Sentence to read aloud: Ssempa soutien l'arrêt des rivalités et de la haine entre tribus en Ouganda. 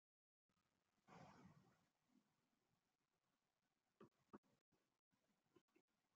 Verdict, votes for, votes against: rejected, 0, 2